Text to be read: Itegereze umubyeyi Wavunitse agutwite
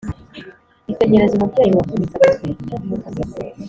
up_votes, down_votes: 2, 0